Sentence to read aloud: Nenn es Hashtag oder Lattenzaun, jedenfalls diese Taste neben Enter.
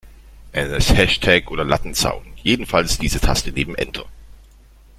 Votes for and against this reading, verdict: 1, 2, rejected